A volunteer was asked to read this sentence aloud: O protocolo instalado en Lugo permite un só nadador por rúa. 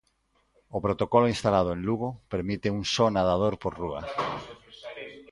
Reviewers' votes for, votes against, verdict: 2, 0, accepted